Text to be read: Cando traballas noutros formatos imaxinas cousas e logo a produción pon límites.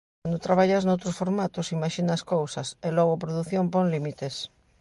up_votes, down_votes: 2, 0